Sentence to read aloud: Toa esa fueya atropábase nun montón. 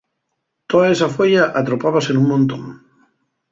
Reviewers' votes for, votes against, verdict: 2, 0, accepted